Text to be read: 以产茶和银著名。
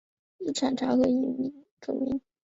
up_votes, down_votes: 1, 2